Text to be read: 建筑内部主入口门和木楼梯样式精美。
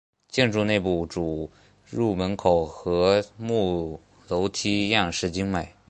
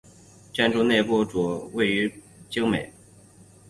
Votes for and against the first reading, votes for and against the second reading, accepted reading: 2, 0, 1, 3, first